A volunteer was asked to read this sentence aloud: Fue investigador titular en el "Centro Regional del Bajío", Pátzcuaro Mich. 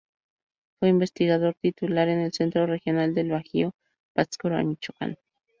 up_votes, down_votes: 0, 2